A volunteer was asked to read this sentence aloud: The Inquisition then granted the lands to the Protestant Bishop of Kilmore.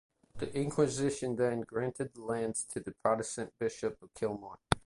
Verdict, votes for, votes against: rejected, 0, 2